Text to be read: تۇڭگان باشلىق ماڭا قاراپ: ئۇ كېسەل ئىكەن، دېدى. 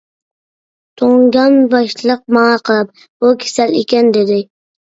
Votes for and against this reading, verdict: 2, 0, accepted